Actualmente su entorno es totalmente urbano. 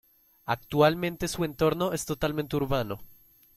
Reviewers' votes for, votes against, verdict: 3, 0, accepted